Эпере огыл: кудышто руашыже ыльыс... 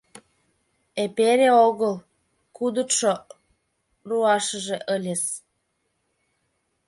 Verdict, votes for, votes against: rejected, 1, 2